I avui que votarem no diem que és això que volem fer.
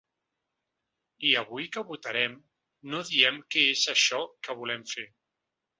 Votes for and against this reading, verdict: 3, 0, accepted